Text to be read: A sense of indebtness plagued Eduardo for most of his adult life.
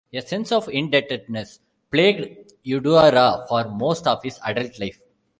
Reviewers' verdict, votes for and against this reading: rejected, 0, 2